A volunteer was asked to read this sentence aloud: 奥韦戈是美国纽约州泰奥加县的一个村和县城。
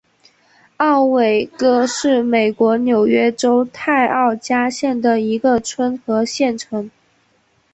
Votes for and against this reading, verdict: 5, 0, accepted